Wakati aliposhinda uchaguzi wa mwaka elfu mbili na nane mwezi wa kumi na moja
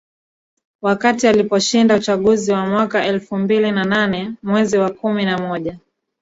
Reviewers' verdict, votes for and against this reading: rejected, 1, 2